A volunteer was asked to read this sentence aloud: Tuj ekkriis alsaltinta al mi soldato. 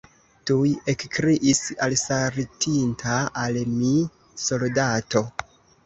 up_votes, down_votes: 1, 2